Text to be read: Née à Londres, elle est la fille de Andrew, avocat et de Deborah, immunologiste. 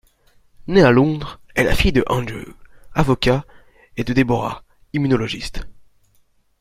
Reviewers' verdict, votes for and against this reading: rejected, 1, 2